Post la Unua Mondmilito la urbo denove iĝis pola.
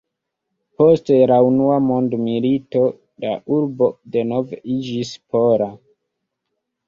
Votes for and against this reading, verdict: 2, 0, accepted